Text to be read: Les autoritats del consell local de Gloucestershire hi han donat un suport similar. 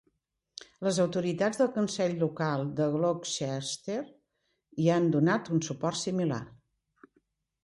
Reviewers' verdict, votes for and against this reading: rejected, 1, 2